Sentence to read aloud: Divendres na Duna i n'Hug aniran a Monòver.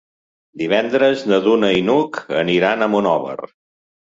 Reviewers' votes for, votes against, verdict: 3, 0, accepted